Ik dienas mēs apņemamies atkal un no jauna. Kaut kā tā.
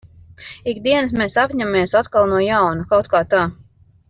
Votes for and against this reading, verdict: 1, 2, rejected